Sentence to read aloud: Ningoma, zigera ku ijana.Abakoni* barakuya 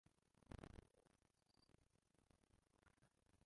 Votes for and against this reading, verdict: 0, 2, rejected